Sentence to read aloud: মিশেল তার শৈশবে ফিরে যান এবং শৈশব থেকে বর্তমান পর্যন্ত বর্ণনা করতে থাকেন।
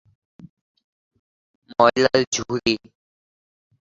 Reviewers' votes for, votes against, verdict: 0, 2, rejected